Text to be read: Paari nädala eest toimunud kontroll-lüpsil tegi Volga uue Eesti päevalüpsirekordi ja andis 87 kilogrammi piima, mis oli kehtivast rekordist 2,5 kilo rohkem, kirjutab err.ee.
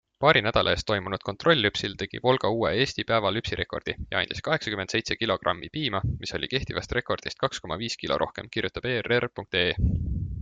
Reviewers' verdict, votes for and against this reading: rejected, 0, 2